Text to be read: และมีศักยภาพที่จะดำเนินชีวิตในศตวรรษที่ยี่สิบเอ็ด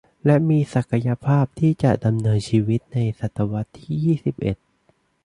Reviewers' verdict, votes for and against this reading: accepted, 2, 0